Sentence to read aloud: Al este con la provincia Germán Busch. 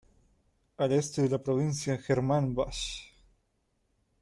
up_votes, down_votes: 1, 2